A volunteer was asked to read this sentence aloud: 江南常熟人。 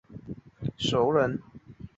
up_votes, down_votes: 0, 4